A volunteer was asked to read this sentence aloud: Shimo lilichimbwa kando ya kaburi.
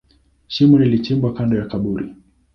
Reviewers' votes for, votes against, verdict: 3, 0, accepted